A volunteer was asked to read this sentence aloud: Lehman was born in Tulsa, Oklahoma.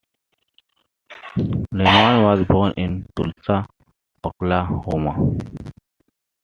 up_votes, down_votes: 2, 1